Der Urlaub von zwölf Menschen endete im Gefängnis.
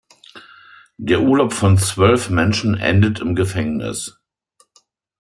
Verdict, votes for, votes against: accepted, 2, 1